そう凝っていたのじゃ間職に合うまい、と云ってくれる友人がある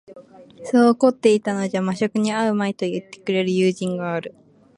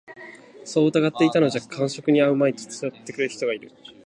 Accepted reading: first